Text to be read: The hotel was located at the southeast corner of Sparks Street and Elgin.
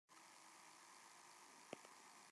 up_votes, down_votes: 0, 2